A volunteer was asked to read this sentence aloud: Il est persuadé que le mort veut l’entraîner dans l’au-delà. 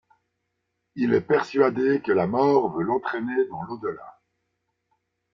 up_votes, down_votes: 1, 2